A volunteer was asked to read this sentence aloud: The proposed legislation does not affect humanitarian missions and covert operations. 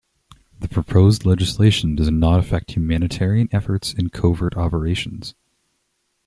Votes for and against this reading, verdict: 0, 2, rejected